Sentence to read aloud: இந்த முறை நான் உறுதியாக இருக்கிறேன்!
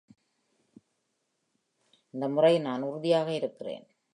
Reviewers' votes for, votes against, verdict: 2, 0, accepted